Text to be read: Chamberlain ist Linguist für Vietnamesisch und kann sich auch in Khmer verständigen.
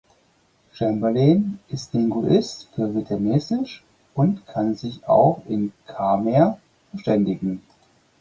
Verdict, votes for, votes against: rejected, 0, 4